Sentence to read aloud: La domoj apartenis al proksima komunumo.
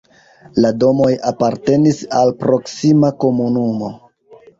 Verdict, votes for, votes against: accepted, 2, 0